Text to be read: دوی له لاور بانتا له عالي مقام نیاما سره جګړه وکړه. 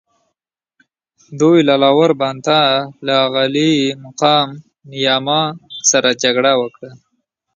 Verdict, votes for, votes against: accepted, 2, 1